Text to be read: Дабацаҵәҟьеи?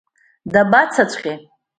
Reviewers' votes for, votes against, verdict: 2, 0, accepted